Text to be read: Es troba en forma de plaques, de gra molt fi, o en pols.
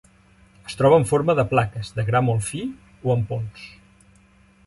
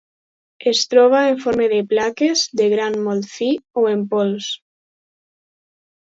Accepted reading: second